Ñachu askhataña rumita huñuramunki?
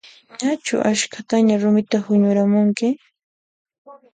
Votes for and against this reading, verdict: 2, 0, accepted